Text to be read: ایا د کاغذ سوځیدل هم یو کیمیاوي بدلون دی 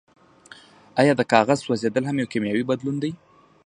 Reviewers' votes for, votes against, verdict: 2, 0, accepted